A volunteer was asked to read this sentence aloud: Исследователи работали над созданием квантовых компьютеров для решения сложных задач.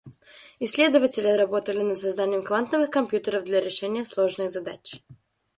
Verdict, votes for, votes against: rejected, 1, 2